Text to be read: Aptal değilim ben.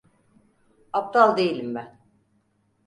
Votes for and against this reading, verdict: 4, 0, accepted